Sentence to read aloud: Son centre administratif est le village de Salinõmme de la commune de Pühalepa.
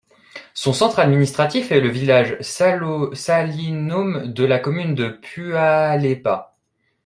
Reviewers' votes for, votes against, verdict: 1, 2, rejected